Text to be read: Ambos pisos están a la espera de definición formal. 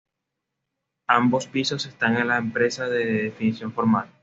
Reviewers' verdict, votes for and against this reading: accepted, 2, 0